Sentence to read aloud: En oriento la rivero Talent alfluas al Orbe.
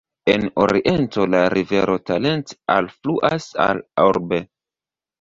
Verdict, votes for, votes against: rejected, 1, 2